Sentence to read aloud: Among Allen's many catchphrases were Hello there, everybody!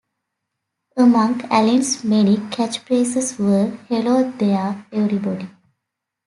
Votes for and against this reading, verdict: 2, 1, accepted